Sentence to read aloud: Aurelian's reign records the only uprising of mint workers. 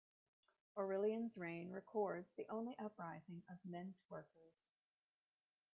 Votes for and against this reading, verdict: 0, 2, rejected